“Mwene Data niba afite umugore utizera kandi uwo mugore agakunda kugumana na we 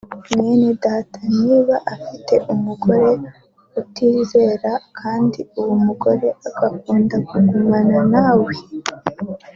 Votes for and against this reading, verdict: 2, 0, accepted